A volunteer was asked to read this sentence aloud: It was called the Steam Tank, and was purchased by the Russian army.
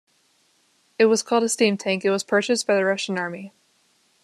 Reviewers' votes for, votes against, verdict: 0, 2, rejected